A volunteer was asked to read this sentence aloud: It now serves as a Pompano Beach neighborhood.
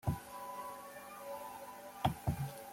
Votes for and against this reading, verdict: 0, 2, rejected